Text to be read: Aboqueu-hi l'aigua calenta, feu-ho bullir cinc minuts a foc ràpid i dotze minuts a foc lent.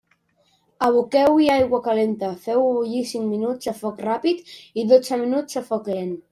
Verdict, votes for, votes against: rejected, 1, 2